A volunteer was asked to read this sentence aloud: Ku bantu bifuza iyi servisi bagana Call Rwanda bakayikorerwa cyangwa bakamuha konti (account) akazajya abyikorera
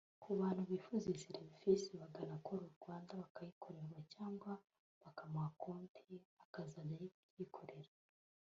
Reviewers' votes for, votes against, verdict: 1, 2, rejected